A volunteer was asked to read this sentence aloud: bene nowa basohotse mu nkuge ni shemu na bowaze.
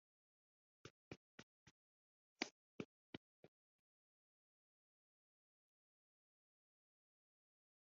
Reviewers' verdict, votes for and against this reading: rejected, 0, 3